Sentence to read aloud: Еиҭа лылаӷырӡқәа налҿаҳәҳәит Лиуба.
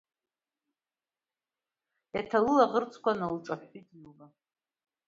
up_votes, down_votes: 2, 0